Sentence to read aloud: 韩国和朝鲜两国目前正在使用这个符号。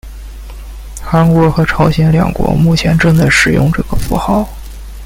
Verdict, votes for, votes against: rejected, 1, 2